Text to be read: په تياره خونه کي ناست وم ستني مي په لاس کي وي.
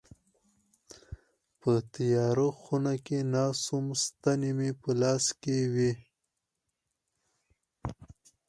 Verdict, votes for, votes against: rejected, 0, 4